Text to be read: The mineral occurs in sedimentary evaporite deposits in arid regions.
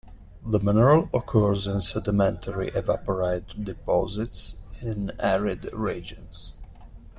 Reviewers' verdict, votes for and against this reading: rejected, 0, 2